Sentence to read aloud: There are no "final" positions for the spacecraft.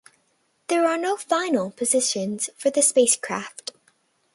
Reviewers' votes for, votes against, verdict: 4, 0, accepted